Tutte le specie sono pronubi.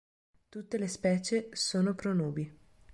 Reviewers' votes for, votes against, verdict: 2, 0, accepted